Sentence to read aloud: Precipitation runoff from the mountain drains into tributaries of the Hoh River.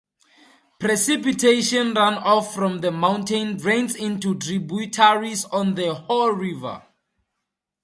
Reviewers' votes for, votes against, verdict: 2, 0, accepted